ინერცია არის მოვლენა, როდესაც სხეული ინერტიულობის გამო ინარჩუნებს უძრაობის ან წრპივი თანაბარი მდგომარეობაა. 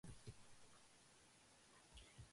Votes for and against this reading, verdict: 1, 2, rejected